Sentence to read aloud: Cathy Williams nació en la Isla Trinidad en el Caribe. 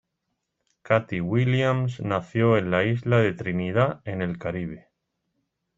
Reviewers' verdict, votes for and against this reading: accepted, 2, 1